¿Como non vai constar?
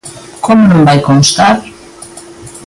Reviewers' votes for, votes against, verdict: 2, 1, accepted